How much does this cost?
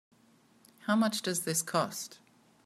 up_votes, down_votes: 2, 0